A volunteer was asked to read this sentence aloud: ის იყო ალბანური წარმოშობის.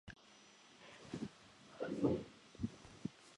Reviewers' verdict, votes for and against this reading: rejected, 0, 2